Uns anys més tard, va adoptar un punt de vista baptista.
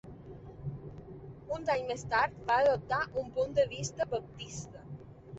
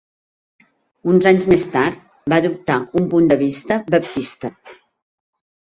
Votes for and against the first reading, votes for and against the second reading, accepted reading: 0, 2, 3, 0, second